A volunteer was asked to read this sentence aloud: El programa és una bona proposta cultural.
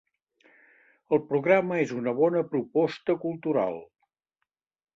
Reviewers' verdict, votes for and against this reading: accepted, 2, 0